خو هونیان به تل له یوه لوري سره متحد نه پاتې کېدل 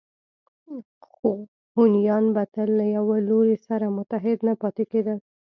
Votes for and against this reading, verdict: 2, 1, accepted